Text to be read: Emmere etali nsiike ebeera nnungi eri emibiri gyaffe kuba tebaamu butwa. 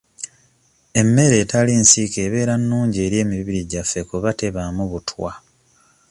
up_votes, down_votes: 2, 0